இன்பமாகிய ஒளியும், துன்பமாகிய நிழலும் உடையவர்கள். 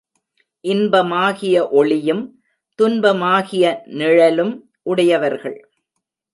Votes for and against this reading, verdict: 2, 0, accepted